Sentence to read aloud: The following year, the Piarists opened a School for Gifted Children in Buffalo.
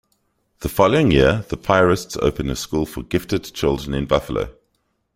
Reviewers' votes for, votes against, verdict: 2, 0, accepted